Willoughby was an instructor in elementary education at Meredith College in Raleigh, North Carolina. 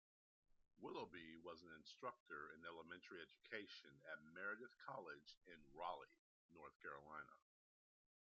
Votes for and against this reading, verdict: 1, 2, rejected